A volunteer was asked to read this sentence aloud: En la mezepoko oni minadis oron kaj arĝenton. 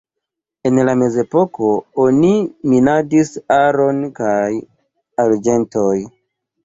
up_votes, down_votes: 0, 2